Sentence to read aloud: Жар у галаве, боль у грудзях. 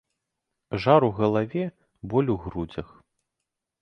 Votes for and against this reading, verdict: 0, 2, rejected